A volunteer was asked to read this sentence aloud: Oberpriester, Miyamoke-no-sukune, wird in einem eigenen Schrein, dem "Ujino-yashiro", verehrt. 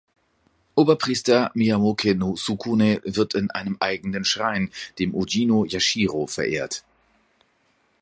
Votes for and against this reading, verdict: 2, 0, accepted